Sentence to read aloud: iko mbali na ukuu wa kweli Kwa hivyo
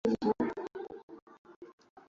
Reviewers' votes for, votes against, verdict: 0, 2, rejected